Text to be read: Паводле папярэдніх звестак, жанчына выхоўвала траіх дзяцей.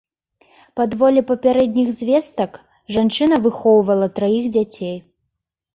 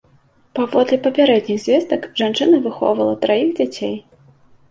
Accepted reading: second